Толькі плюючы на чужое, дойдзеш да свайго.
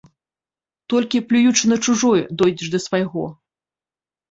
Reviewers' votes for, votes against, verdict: 2, 0, accepted